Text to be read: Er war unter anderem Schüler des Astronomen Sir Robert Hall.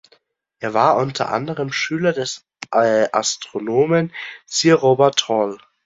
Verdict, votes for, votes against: rejected, 0, 3